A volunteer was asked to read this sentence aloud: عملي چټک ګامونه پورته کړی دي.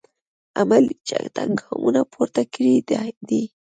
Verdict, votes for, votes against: rejected, 1, 2